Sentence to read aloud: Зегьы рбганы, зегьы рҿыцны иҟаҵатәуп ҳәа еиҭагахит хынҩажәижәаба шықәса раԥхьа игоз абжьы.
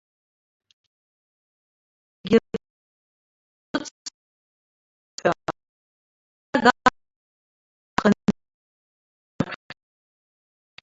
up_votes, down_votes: 0, 2